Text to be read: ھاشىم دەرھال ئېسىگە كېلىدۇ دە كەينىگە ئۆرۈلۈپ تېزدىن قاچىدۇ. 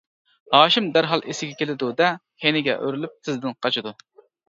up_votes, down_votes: 1, 2